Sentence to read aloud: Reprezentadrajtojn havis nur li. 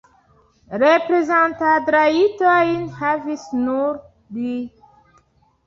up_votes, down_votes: 1, 2